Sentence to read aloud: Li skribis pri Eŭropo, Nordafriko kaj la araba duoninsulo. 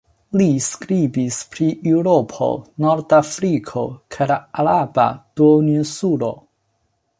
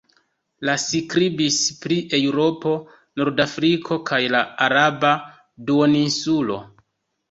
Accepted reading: first